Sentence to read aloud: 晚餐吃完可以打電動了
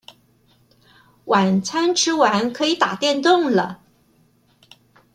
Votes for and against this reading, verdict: 2, 0, accepted